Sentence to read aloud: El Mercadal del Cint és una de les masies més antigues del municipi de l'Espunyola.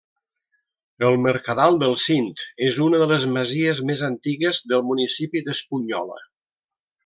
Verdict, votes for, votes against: rejected, 1, 2